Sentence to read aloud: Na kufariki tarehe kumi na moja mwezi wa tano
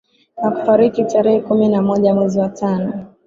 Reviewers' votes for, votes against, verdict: 9, 2, accepted